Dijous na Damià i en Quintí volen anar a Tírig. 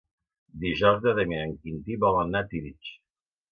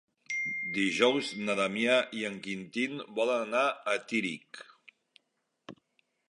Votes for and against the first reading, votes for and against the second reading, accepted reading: 0, 2, 2, 1, second